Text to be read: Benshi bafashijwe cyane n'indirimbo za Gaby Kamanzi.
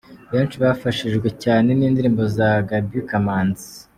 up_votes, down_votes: 2, 0